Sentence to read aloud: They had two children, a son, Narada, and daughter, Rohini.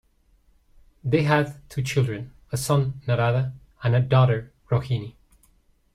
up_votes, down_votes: 2, 0